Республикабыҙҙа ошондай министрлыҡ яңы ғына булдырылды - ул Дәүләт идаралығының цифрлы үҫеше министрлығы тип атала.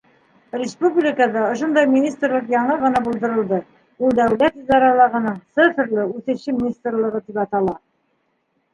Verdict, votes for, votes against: accepted, 3, 1